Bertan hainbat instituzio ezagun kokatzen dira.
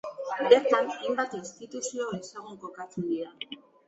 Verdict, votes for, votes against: rejected, 1, 2